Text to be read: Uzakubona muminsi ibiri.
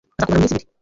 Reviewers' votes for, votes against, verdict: 0, 2, rejected